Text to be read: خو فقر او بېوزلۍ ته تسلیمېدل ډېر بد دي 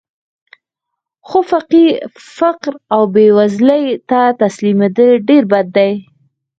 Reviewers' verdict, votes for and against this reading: accepted, 4, 0